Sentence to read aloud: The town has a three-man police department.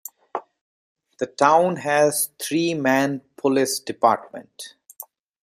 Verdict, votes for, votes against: rejected, 0, 2